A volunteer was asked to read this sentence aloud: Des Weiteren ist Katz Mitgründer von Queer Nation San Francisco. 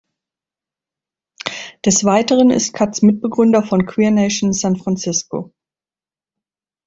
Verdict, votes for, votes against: rejected, 0, 2